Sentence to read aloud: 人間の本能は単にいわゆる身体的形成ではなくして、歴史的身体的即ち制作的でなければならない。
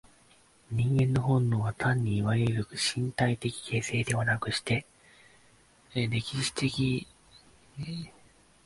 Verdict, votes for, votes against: rejected, 0, 2